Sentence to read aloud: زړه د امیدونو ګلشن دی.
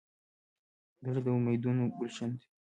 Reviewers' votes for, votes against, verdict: 0, 2, rejected